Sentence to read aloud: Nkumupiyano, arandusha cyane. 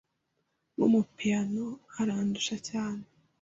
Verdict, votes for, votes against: accepted, 2, 0